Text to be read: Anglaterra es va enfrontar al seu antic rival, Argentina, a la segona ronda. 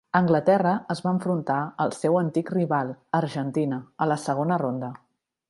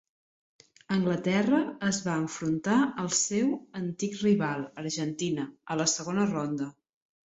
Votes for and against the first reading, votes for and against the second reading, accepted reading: 4, 0, 0, 2, first